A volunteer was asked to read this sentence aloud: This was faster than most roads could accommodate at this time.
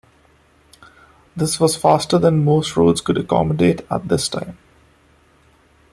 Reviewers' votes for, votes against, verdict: 2, 0, accepted